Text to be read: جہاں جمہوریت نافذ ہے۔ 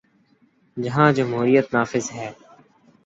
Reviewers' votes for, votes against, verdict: 2, 0, accepted